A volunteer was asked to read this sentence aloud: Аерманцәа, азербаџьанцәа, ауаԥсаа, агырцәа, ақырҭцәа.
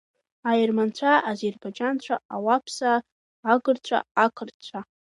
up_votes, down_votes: 0, 2